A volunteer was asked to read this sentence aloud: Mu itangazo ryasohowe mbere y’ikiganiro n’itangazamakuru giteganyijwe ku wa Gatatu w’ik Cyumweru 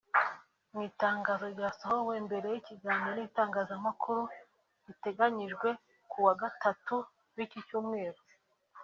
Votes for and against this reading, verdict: 2, 0, accepted